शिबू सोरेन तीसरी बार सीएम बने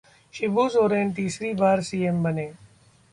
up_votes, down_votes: 2, 0